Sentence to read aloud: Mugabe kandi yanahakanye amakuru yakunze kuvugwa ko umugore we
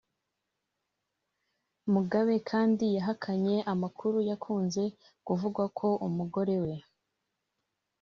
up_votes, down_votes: 1, 2